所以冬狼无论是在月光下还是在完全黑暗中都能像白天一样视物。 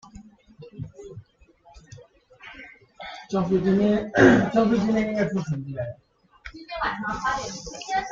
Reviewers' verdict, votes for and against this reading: rejected, 0, 2